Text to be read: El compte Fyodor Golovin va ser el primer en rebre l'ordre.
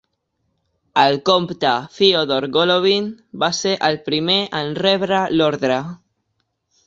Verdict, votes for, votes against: accepted, 2, 0